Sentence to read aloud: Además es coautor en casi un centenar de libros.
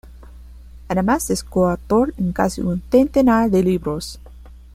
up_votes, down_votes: 1, 2